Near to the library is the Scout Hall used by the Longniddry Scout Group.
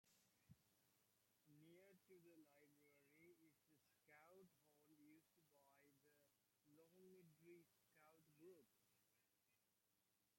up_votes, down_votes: 0, 2